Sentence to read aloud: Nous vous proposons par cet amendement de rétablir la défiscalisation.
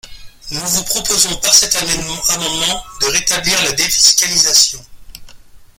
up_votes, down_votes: 0, 3